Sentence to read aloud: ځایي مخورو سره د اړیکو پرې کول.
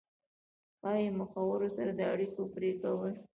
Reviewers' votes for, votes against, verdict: 1, 2, rejected